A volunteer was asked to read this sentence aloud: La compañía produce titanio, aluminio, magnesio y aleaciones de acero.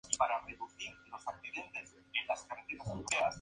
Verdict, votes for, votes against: rejected, 0, 2